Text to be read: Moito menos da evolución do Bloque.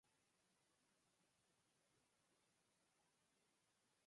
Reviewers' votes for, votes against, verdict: 0, 2, rejected